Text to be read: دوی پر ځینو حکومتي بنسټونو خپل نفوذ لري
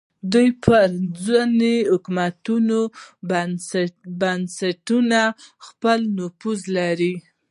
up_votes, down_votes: 1, 2